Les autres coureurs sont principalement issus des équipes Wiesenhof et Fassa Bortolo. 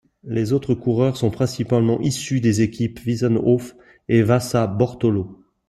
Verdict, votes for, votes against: rejected, 0, 2